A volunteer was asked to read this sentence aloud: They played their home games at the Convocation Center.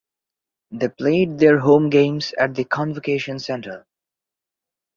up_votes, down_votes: 2, 0